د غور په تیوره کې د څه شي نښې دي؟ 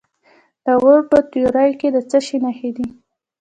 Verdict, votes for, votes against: accepted, 2, 1